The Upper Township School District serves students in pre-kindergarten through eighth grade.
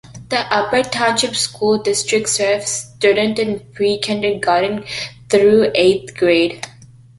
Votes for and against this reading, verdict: 2, 0, accepted